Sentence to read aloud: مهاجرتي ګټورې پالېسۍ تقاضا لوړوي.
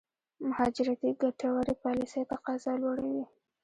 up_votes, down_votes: 0, 2